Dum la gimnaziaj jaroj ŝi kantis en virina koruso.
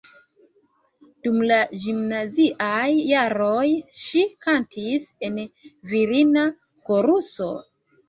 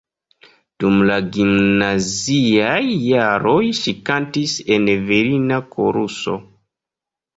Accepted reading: second